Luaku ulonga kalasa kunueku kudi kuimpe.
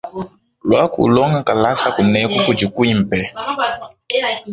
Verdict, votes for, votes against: accepted, 2, 0